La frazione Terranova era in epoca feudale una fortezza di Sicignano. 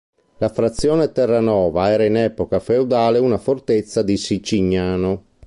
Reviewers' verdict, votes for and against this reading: accepted, 3, 0